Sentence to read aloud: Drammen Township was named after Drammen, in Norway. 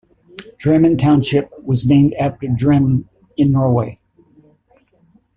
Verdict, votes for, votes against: accepted, 2, 0